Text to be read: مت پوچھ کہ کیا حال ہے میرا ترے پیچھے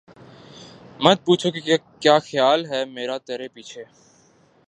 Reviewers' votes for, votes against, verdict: 2, 2, rejected